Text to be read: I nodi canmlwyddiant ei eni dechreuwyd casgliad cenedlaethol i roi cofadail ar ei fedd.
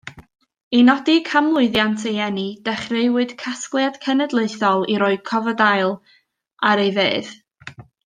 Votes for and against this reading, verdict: 2, 0, accepted